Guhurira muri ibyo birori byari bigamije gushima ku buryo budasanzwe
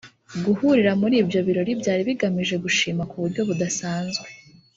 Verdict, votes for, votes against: rejected, 1, 2